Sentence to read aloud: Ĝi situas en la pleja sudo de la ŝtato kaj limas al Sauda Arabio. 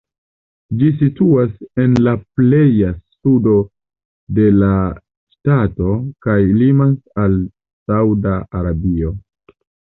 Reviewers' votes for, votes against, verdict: 2, 0, accepted